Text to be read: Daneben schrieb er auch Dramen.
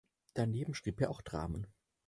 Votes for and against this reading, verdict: 4, 0, accepted